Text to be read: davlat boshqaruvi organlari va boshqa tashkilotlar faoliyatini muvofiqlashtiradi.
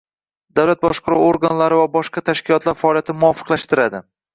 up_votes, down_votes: 1, 2